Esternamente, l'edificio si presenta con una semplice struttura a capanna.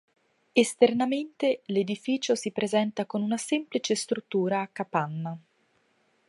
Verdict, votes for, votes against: accepted, 2, 0